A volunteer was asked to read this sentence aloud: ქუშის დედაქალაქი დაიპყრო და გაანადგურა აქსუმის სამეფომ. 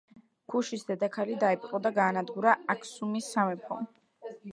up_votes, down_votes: 0, 2